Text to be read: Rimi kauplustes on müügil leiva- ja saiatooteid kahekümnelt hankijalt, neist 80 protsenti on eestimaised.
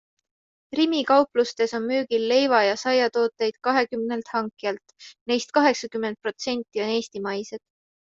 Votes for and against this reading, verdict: 0, 2, rejected